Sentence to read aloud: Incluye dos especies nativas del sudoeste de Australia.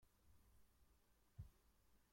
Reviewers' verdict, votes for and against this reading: rejected, 0, 2